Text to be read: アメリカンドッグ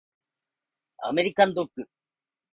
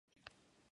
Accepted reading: first